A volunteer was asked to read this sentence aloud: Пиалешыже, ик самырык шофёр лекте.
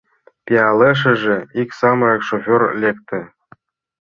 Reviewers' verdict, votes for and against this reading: accepted, 2, 0